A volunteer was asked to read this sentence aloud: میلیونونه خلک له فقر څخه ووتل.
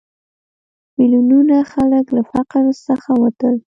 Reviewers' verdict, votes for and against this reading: rejected, 1, 2